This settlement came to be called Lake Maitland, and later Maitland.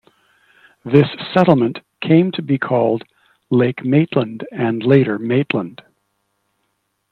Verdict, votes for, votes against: accepted, 2, 0